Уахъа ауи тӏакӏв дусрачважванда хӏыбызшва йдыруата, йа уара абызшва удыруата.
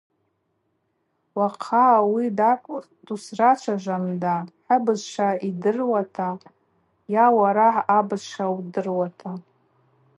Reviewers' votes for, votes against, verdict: 4, 0, accepted